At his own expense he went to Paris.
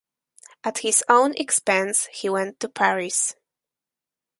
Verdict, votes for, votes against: accepted, 4, 0